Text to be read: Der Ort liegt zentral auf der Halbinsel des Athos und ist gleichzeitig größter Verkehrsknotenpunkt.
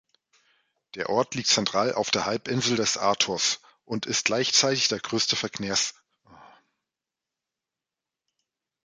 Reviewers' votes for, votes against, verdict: 0, 2, rejected